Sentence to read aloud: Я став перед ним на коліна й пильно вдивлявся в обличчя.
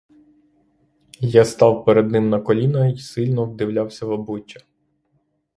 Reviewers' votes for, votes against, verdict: 0, 3, rejected